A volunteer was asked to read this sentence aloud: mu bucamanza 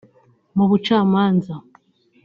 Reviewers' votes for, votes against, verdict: 2, 0, accepted